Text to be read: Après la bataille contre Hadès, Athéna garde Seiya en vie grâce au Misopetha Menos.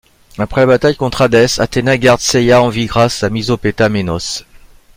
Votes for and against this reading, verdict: 1, 2, rejected